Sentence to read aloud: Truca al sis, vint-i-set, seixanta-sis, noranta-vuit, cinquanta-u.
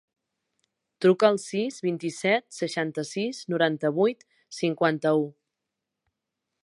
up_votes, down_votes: 3, 0